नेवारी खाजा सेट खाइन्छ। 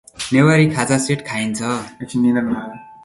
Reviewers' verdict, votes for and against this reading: rejected, 1, 2